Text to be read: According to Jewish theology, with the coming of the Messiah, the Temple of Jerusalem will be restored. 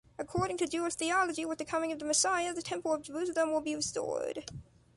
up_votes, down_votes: 1, 2